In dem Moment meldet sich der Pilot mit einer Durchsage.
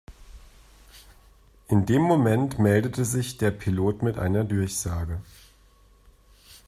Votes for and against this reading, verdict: 1, 2, rejected